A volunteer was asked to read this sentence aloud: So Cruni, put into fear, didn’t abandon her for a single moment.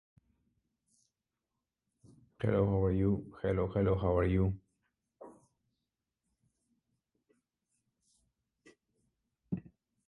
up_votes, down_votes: 0, 2